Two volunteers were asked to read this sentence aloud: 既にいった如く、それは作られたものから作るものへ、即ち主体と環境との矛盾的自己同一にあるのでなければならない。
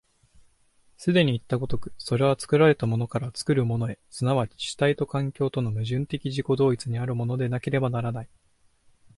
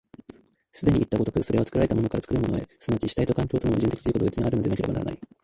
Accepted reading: first